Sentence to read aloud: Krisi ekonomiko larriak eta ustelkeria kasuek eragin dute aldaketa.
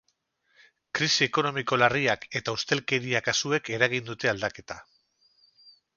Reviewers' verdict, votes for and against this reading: rejected, 2, 2